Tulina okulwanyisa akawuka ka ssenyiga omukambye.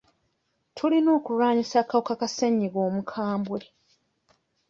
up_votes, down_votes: 1, 2